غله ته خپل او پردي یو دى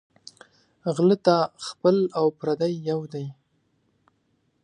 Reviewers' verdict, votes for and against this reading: rejected, 0, 2